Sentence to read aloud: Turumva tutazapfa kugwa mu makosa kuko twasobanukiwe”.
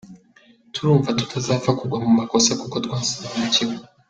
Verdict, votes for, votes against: accepted, 2, 0